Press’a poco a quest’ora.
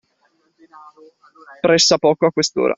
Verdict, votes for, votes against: accepted, 2, 0